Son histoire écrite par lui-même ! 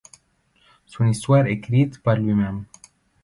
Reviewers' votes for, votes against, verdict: 0, 2, rejected